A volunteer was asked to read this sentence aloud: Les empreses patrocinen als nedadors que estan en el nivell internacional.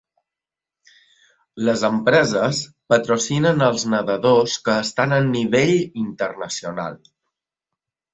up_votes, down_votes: 1, 2